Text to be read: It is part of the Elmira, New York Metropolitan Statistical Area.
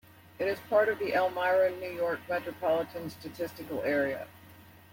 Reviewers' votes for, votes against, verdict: 2, 0, accepted